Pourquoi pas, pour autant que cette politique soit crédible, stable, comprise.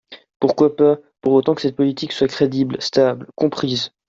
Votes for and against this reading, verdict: 2, 0, accepted